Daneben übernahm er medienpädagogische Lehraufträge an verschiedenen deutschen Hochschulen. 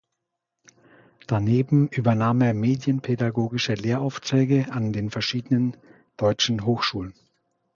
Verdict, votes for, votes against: rejected, 1, 2